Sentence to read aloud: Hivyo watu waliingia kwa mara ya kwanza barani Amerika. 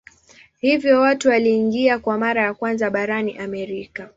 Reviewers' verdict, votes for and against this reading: accepted, 2, 0